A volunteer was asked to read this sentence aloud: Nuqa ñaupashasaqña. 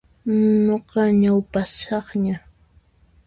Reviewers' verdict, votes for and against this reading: rejected, 1, 2